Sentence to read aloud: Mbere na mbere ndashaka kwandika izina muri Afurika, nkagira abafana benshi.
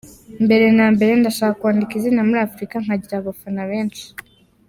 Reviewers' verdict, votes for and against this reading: accepted, 2, 0